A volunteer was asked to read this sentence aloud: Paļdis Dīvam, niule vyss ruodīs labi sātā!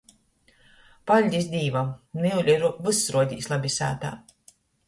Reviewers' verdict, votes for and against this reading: rejected, 0, 2